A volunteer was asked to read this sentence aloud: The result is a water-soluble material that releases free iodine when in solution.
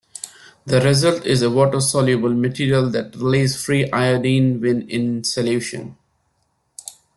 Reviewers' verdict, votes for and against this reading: rejected, 0, 2